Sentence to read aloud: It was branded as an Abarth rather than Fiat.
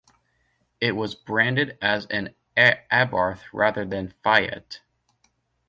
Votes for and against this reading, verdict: 2, 0, accepted